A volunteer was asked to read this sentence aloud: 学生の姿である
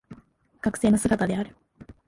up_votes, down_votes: 1, 3